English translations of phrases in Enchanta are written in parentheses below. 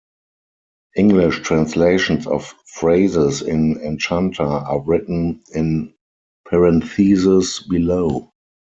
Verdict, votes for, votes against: accepted, 4, 0